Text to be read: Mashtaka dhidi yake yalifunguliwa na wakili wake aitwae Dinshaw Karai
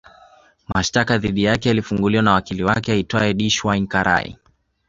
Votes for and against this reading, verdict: 2, 0, accepted